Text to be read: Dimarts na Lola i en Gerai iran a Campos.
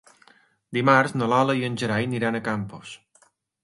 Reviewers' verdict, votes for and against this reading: accepted, 2, 1